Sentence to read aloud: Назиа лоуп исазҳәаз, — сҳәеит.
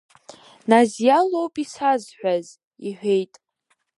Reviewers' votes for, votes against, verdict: 0, 2, rejected